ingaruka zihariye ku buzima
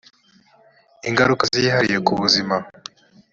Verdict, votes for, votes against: accepted, 2, 0